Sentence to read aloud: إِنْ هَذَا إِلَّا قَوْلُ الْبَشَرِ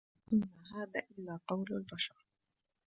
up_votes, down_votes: 1, 2